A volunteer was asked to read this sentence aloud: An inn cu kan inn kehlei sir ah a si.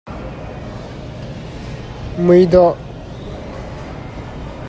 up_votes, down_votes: 0, 2